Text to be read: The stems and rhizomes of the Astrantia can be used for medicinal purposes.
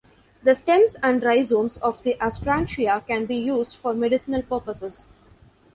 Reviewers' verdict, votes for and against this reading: accepted, 2, 0